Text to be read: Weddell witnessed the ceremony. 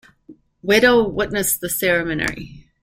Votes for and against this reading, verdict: 1, 2, rejected